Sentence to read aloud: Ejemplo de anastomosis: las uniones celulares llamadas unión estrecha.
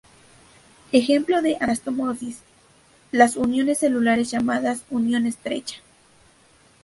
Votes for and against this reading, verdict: 0, 2, rejected